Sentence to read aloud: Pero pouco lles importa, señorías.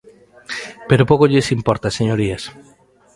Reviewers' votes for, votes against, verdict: 2, 0, accepted